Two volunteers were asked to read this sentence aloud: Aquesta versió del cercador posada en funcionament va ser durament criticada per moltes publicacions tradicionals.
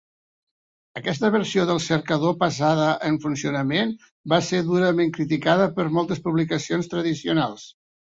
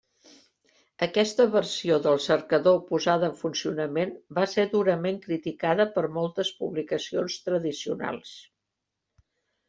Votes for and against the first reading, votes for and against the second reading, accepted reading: 1, 2, 3, 0, second